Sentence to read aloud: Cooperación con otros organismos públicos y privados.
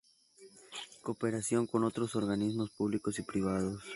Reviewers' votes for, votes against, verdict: 4, 0, accepted